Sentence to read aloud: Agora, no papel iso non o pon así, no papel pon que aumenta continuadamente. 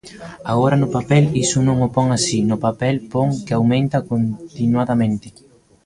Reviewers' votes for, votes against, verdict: 1, 2, rejected